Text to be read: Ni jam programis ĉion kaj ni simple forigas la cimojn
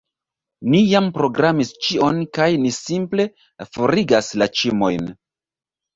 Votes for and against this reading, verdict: 1, 2, rejected